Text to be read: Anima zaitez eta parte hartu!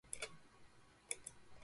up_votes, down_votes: 0, 2